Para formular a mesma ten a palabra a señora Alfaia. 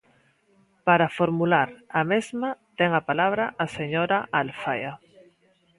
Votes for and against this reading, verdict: 2, 0, accepted